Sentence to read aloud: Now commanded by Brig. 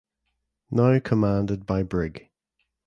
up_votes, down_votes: 2, 0